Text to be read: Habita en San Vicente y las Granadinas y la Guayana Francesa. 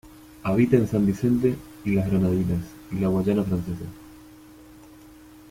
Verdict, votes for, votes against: accepted, 2, 1